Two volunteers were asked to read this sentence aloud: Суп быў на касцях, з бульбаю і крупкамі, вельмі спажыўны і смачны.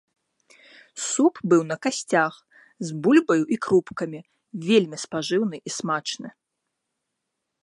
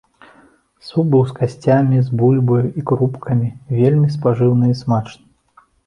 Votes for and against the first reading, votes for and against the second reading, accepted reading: 2, 0, 0, 3, first